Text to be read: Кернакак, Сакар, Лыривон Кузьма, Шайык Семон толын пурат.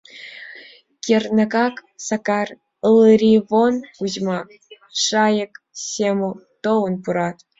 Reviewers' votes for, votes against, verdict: 1, 2, rejected